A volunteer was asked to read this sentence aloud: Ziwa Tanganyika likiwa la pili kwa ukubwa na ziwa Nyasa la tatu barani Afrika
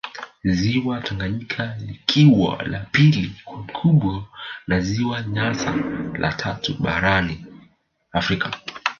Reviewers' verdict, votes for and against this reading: accepted, 2, 1